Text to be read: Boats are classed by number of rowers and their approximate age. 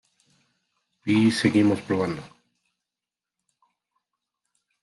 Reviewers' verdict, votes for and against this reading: rejected, 0, 2